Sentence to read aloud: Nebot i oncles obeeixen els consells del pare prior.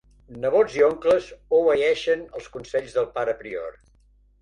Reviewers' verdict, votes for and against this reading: rejected, 1, 2